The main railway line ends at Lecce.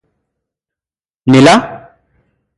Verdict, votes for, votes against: rejected, 0, 2